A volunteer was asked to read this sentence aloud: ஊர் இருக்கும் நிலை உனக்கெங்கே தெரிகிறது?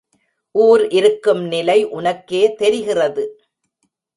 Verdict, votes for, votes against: rejected, 0, 2